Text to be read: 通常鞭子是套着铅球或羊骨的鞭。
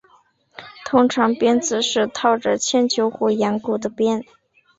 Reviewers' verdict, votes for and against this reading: accepted, 3, 0